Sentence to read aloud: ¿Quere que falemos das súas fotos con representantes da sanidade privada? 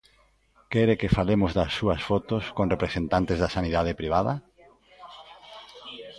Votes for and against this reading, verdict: 1, 2, rejected